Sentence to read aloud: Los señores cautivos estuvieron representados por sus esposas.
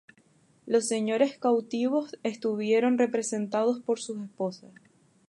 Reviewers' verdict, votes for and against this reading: accepted, 4, 0